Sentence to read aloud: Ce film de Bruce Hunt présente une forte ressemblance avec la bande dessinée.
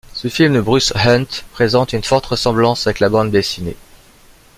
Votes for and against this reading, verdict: 2, 0, accepted